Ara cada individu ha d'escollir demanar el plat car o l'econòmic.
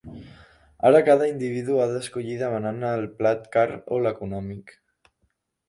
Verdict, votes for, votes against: rejected, 0, 2